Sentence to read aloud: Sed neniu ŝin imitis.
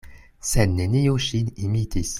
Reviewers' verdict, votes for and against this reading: accepted, 2, 0